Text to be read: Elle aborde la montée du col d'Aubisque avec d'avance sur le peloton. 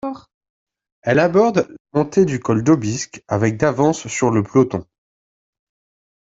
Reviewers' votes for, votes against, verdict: 1, 2, rejected